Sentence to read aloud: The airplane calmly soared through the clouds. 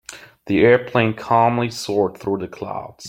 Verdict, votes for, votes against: accepted, 2, 0